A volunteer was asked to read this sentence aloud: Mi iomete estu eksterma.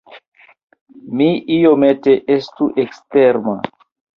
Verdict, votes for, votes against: rejected, 1, 2